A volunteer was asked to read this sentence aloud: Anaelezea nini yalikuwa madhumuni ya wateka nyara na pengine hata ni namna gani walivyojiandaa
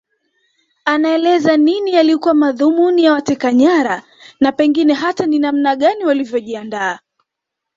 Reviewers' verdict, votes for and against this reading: rejected, 0, 2